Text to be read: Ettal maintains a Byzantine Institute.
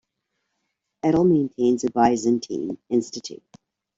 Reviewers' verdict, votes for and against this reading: rejected, 1, 2